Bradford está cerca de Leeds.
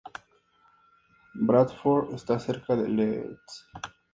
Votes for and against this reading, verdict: 2, 2, rejected